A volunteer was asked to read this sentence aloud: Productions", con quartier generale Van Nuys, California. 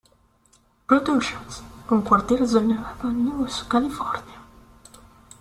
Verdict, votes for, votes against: rejected, 1, 2